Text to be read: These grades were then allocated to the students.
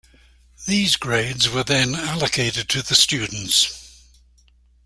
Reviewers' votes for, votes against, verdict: 2, 0, accepted